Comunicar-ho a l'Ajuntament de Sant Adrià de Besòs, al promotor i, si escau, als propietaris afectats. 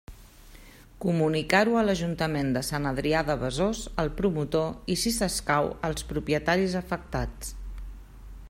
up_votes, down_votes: 0, 2